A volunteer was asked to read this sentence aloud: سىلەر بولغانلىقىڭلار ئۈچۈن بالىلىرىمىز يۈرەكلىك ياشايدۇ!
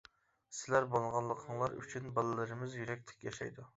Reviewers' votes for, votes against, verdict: 1, 2, rejected